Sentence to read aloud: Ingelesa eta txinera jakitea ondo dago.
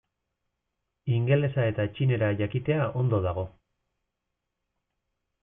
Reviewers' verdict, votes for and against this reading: accepted, 2, 0